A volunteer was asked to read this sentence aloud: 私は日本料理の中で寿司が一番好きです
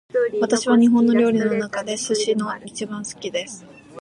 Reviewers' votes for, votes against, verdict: 2, 0, accepted